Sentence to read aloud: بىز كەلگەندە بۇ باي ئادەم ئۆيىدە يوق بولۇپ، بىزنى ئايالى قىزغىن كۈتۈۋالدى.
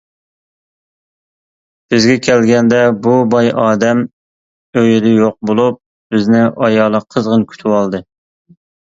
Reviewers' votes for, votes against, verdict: 0, 2, rejected